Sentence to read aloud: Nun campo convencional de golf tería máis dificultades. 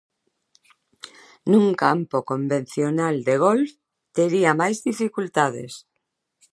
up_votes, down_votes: 2, 0